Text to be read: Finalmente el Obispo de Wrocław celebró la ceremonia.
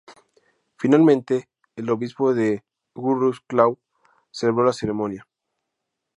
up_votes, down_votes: 4, 0